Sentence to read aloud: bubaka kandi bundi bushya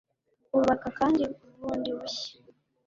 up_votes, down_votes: 2, 0